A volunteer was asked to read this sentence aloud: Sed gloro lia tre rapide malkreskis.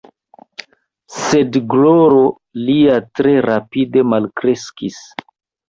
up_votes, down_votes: 2, 0